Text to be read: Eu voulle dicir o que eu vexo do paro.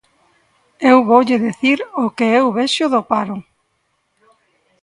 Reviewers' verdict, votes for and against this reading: accepted, 2, 0